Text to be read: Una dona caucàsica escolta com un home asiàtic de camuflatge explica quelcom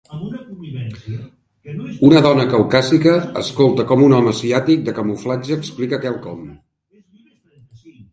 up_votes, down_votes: 2, 3